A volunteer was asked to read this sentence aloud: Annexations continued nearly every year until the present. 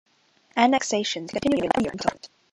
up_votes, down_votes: 0, 2